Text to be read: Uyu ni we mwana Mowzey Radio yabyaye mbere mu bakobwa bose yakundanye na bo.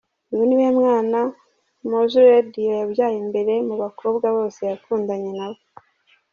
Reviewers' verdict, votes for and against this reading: accepted, 2, 1